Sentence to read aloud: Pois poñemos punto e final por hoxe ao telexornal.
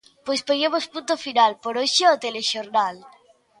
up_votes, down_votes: 1, 2